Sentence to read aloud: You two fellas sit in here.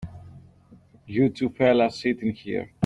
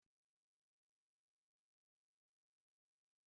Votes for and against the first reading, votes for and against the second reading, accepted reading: 2, 0, 0, 3, first